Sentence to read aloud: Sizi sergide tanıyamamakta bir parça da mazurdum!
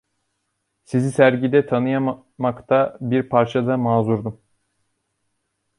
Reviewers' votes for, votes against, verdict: 1, 3, rejected